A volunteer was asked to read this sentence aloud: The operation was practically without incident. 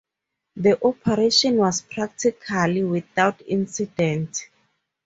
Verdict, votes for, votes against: rejected, 0, 2